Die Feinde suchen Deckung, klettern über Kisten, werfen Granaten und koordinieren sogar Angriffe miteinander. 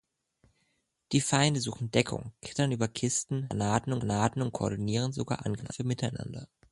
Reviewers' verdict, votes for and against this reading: rejected, 1, 2